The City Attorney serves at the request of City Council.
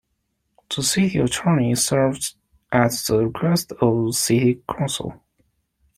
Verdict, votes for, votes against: accepted, 2, 1